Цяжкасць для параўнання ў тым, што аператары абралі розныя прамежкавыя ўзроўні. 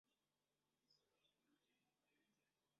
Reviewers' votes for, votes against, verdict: 0, 2, rejected